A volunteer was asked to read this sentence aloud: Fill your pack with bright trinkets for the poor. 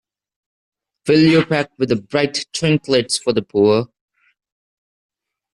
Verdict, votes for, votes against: rejected, 0, 2